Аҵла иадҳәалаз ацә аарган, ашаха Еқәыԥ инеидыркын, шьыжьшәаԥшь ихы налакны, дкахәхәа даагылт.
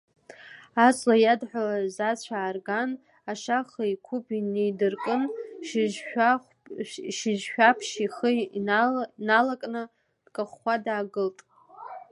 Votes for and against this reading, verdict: 1, 2, rejected